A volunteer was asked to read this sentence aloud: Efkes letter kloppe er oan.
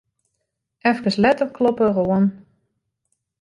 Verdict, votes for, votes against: rejected, 1, 2